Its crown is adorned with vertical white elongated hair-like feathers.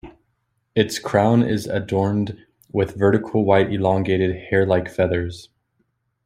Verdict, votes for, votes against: accepted, 2, 1